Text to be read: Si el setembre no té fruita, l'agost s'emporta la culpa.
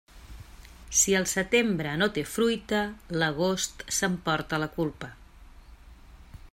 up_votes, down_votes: 3, 0